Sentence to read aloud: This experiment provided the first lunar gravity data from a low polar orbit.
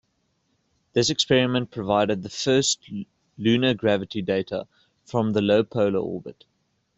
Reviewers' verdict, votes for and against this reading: rejected, 2, 3